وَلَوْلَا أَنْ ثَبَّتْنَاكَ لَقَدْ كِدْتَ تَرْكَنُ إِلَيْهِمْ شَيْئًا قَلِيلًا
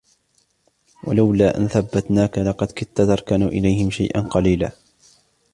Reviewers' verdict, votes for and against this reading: rejected, 0, 2